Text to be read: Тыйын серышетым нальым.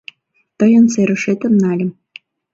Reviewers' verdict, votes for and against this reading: accepted, 2, 0